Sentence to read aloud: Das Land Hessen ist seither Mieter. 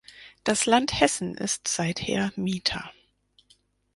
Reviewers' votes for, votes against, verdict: 4, 0, accepted